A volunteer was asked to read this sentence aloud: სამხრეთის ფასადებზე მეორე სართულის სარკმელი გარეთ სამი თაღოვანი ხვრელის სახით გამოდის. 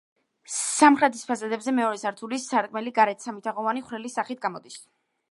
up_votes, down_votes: 3, 0